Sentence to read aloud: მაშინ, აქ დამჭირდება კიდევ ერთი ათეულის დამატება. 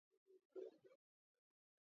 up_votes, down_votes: 0, 2